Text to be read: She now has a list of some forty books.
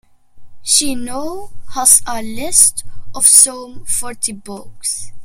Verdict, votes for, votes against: accepted, 2, 0